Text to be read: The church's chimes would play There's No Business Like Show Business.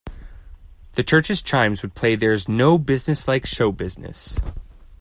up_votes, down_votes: 2, 0